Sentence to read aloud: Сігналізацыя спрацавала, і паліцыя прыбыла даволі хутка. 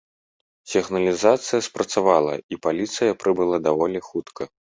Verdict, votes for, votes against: accepted, 2, 0